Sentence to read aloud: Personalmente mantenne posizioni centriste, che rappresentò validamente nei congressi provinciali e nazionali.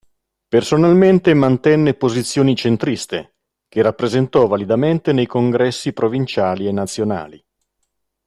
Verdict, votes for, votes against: accepted, 4, 1